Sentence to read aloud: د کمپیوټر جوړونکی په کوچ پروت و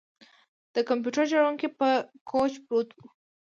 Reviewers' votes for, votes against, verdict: 2, 3, rejected